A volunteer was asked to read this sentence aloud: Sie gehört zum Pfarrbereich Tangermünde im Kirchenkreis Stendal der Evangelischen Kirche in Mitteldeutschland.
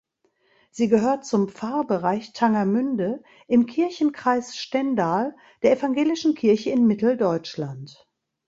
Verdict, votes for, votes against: accepted, 3, 0